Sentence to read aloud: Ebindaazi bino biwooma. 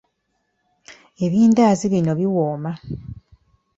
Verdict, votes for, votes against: accepted, 2, 0